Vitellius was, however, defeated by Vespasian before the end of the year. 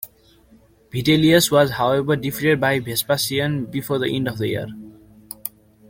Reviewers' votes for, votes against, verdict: 2, 0, accepted